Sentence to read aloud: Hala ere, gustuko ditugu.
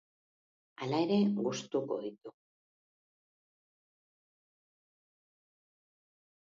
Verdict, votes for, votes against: rejected, 0, 2